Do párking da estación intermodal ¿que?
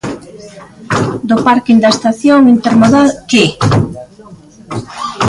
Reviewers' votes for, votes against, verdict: 0, 2, rejected